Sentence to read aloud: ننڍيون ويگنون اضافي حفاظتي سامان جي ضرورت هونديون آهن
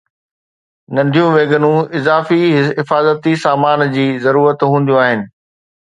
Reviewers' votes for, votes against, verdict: 2, 0, accepted